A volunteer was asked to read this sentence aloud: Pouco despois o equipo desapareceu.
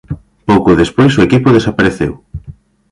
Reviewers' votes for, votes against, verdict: 2, 0, accepted